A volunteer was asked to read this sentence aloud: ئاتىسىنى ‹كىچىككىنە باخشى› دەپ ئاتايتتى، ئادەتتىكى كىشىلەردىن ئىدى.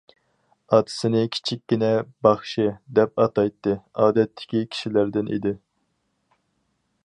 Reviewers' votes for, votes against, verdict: 0, 2, rejected